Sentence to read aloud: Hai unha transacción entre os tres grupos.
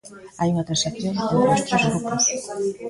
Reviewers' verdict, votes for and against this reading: rejected, 0, 2